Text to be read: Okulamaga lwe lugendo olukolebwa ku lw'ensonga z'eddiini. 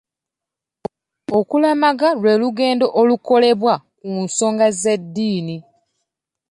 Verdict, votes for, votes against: rejected, 1, 2